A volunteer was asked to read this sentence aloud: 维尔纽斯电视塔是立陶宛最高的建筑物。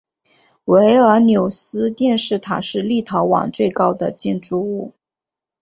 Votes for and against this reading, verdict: 2, 1, accepted